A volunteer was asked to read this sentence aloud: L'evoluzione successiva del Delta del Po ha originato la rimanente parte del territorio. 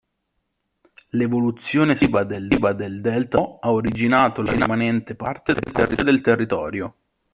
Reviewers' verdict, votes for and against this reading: rejected, 0, 3